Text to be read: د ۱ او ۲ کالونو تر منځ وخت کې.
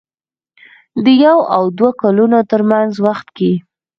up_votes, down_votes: 0, 2